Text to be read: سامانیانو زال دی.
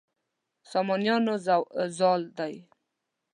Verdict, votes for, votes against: rejected, 0, 2